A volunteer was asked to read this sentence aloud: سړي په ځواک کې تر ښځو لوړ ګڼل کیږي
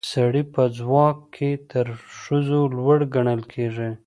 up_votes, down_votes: 2, 0